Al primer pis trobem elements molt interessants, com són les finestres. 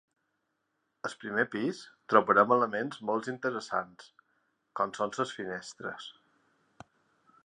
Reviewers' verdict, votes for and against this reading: rejected, 0, 2